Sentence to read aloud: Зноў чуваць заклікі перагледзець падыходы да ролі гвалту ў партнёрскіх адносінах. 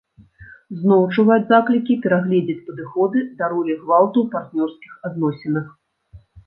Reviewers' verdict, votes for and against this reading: rejected, 1, 2